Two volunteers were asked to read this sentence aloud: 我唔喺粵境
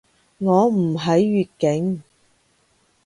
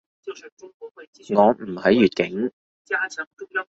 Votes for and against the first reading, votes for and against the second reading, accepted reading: 2, 0, 1, 2, first